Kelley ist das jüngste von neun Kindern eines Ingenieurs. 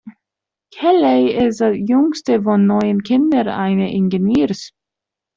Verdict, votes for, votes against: rejected, 0, 2